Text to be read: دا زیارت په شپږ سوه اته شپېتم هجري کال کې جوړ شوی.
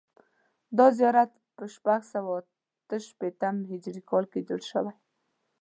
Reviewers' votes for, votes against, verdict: 2, 0, accepted